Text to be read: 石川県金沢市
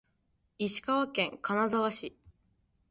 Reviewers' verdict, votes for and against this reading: accepted, 2, 0